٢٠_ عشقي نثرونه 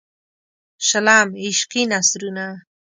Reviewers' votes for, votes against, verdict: 0, 2, rejected